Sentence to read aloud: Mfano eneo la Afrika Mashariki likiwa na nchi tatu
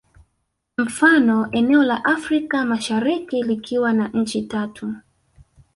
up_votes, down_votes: 2, 1